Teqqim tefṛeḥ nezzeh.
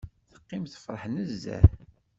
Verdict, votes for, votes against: accepted, 2, 0